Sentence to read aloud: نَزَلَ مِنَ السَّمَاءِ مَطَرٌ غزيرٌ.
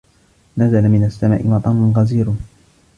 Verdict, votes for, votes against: accepted, 2, 0